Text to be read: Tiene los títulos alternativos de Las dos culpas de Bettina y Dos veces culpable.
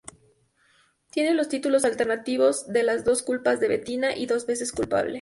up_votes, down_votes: 2, 0